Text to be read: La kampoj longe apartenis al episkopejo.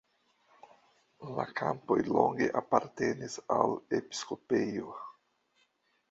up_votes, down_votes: 2, 0